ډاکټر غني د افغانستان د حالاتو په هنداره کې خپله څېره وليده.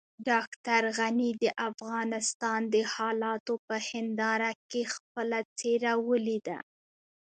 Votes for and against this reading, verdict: 1, 2, rejected